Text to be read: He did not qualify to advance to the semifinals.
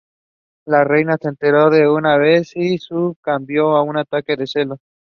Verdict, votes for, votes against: rejected, 0, 2